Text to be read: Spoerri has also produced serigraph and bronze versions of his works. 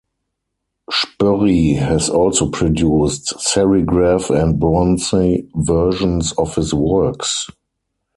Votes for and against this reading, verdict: 2, 4, rejected